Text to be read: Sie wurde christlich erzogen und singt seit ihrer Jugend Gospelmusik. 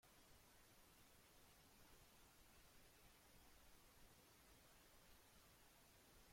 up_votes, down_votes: 0, 2